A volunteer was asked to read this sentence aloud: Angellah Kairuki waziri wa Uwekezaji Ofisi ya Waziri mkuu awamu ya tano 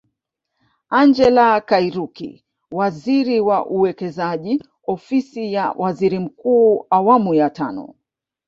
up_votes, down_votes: 1, 2